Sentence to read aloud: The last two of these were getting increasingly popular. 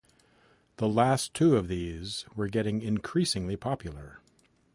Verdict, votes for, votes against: accepted, 2, 0